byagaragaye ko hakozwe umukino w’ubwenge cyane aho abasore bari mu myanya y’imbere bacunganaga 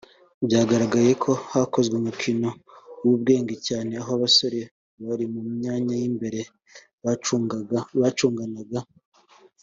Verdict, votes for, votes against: rejected, 1, 2